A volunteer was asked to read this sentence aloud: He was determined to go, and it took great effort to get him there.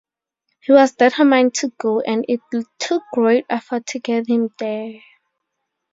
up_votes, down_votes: 2, 0